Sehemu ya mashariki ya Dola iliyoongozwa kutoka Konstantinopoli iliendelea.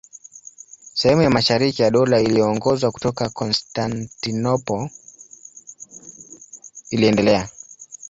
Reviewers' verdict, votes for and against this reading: rejected, 1, 2